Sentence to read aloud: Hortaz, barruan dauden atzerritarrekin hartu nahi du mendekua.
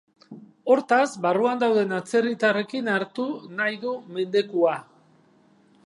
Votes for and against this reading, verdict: 4, 0, accepted